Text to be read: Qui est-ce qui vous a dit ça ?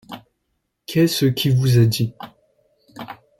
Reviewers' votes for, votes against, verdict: 0, 2, rejected